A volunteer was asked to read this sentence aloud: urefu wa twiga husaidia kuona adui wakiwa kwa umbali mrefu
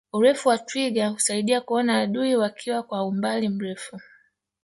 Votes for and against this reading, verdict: 1, 2, rejected